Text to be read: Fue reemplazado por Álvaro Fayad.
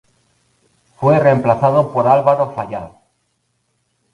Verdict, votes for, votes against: rejected, 0, 2